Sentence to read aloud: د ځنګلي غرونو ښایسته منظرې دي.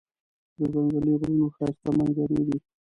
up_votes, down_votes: 1, 2